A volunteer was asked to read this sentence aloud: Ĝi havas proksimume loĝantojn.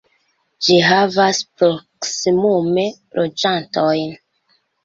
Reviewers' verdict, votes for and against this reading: accepted, 2, 1